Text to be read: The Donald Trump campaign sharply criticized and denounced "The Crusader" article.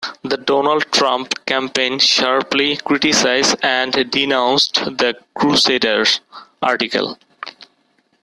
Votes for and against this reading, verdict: 0, 2, rejected